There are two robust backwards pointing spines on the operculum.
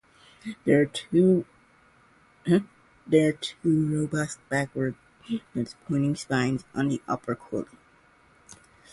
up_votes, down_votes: 0, 2